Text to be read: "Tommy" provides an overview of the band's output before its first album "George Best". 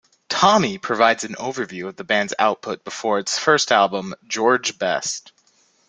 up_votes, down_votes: 2, 0